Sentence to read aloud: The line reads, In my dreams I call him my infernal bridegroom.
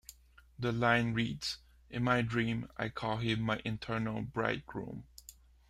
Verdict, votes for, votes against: accepted, 2, 1